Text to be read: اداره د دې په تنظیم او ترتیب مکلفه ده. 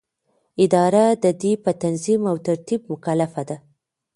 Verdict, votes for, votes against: accepted, 2, 0